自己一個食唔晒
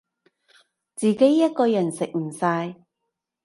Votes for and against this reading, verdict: 0, 2, rejected